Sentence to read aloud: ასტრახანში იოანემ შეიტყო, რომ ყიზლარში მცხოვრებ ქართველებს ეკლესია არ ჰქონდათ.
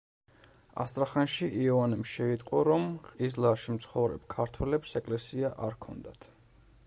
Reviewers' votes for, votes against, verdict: 1, 2, rejected